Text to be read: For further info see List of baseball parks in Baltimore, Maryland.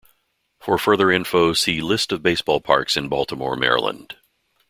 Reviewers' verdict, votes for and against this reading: accepted, 2, 0